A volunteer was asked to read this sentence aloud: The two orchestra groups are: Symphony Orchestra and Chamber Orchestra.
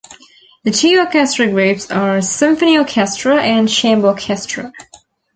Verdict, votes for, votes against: rejected, 1, 2